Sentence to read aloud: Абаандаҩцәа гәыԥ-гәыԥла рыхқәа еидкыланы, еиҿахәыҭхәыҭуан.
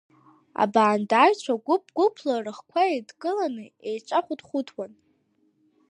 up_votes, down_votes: 0, 2